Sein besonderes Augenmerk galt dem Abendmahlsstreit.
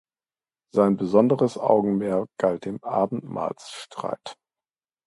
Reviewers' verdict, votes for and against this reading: accepted, 2, 0